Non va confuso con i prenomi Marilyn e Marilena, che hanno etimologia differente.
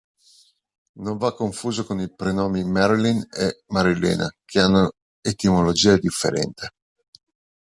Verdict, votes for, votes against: rejected, 1, 2